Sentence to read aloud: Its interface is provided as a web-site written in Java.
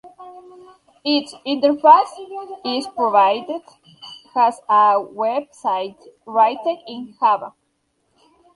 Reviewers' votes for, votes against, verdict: 0, 2, rejected